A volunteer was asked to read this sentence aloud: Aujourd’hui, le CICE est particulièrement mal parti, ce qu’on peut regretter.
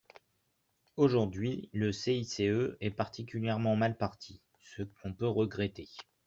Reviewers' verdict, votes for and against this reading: accepted, 2, 1